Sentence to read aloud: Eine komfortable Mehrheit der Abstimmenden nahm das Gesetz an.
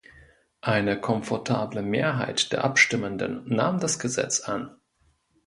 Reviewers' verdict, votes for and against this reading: accepted, 2, 0